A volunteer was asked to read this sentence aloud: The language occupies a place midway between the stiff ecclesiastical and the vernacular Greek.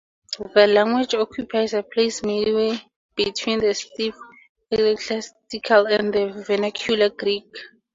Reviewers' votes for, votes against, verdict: 4, 2, accepted